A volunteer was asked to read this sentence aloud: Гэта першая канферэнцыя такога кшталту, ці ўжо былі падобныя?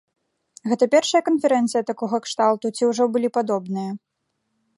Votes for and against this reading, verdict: 2, 0, accepted